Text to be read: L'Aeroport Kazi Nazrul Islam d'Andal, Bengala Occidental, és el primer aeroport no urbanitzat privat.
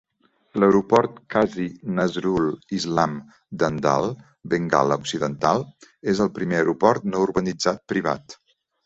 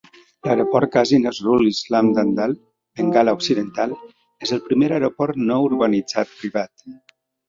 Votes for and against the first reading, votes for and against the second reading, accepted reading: 2, 0, 0, 2, first